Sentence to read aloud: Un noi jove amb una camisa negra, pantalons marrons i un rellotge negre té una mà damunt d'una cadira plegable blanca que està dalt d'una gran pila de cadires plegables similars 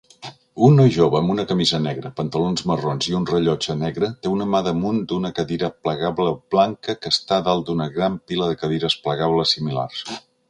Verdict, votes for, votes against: accepted, 2, 0